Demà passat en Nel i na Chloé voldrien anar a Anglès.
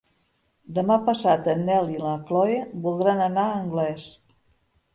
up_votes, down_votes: 0, 2